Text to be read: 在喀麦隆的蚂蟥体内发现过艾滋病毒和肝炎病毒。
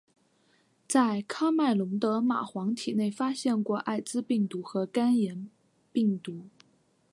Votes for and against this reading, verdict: 2, 1, accepted